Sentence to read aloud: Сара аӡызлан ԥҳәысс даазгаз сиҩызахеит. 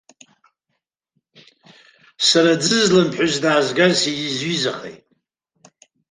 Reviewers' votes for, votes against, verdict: 0, 2, rejected